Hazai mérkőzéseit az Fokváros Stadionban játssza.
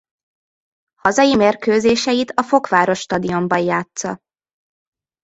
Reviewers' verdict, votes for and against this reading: rejected, 1, 2